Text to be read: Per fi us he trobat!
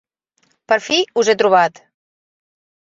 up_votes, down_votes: 3, 0